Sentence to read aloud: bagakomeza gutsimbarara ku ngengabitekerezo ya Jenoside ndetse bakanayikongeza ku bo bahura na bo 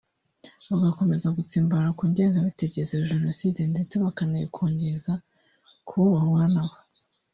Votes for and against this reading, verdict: 1, 2, rejected